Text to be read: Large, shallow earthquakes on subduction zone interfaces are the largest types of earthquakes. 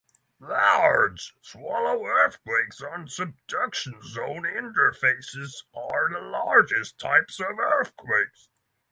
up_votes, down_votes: 0, 3